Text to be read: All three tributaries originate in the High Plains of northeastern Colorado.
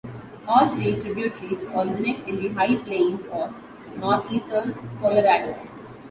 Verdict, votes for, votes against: accepted, 2, 0